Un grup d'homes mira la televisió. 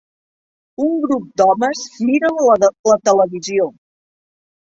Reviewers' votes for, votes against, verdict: 0, 2, rejected